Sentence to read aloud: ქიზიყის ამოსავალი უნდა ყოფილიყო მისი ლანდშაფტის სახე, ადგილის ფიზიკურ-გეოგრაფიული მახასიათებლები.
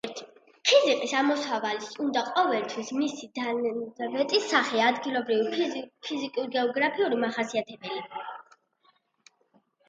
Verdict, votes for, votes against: rejected, 0, 2